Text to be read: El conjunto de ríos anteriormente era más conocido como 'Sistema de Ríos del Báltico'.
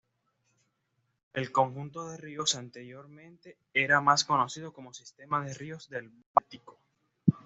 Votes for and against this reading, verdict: 2, 0, accepted